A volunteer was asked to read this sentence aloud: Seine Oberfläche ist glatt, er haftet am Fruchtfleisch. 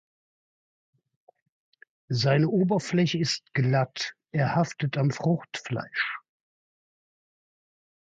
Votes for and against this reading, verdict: 2, 0, accepted